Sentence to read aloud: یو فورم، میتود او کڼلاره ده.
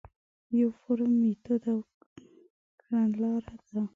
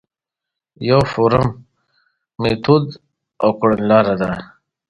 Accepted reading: second